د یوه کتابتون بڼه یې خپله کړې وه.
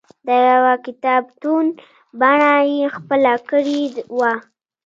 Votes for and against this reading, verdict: 0, 2, rejected